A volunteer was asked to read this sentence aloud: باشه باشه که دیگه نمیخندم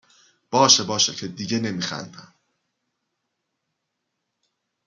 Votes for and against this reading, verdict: 2, 0, accepted